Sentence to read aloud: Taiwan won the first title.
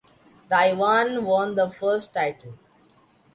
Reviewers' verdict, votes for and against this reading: accepted, 2, 0